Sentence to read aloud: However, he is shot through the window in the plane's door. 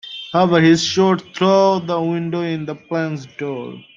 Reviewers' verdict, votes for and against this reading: accepted, 2, 0